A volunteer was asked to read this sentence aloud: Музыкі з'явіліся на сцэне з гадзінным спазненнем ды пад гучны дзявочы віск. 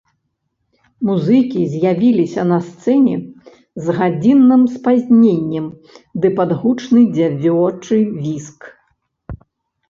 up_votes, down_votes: 0, 2